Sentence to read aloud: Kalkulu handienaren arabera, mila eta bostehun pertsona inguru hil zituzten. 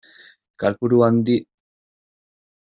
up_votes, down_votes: 0, 2